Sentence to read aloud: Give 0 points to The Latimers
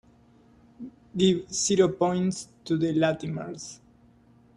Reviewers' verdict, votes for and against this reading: rejected, 0, 2